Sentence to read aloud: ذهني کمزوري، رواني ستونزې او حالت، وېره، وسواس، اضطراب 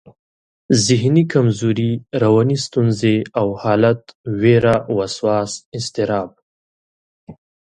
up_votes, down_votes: 2, 0